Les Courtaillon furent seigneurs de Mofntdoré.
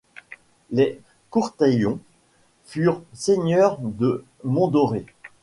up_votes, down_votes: 1, 2